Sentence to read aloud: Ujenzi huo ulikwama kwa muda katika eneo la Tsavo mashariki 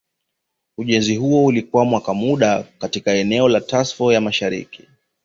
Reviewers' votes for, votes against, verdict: 0, 2, rejected